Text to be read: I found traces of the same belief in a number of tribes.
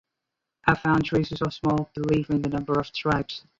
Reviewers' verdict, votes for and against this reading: rejected, 2, 2